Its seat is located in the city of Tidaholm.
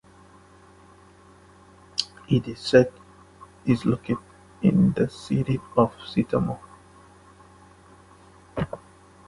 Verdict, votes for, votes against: rejected, 0, 2